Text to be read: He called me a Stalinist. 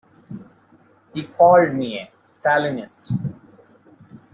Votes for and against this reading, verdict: 2, 0, accepted